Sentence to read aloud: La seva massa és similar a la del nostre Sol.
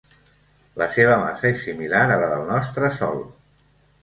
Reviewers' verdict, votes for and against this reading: accepted, 2, 0